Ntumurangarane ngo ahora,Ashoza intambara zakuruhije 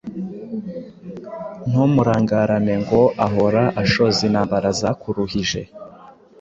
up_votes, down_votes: 2, 0